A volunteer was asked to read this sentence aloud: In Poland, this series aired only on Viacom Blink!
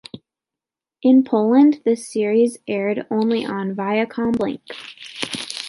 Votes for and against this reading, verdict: 2, 0, accepted